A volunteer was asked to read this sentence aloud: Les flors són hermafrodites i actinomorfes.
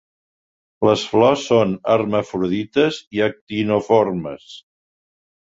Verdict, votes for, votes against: accepted, 2, 1